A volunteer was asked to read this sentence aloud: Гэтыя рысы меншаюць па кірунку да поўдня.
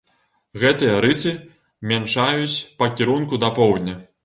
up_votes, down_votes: 1, 2